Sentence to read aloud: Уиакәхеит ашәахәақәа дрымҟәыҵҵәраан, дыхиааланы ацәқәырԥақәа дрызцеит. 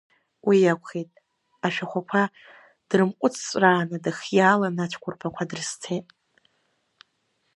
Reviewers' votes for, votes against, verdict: 2, 1, accepted